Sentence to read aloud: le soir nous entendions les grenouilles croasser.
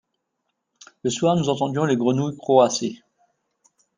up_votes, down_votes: 2, 0